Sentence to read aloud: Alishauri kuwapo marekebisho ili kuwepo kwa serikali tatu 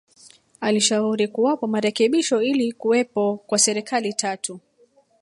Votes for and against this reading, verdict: 0, 2, rejected